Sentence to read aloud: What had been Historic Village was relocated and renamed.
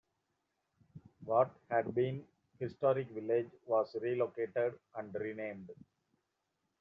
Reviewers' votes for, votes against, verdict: 0, 2, rejected